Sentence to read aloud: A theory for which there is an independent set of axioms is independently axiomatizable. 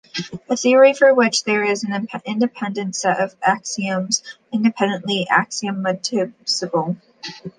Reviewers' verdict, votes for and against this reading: rejected, 0, 2